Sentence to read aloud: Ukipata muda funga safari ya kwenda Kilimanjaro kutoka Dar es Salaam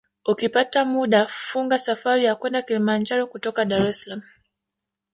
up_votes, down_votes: 0, 2